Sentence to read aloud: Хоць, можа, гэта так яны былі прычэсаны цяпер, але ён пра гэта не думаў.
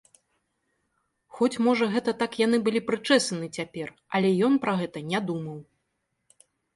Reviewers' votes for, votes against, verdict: 2, 0, accepted